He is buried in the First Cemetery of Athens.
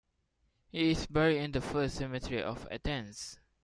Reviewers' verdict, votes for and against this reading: accepted, 2, 0